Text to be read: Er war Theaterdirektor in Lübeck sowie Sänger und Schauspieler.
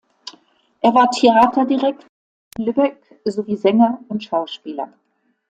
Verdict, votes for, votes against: rejected, 0, 2